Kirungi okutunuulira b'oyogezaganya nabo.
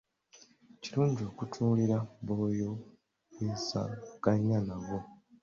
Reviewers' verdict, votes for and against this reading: rejected, 0, 2